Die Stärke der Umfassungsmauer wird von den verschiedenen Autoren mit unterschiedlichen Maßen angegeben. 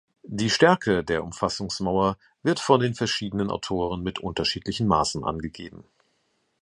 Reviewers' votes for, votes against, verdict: 2, 0, accepted